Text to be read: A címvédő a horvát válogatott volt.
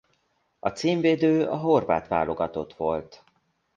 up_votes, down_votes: 2, 0